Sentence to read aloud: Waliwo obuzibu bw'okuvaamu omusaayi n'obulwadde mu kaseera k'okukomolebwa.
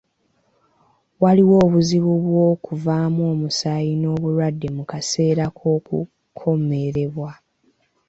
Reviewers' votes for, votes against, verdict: 0, 2, rejected